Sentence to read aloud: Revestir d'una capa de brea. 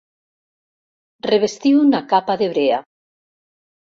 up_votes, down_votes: 0, 2